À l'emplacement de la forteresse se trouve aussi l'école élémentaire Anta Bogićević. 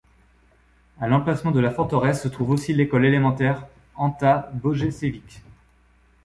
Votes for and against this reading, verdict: 1, 2, rejected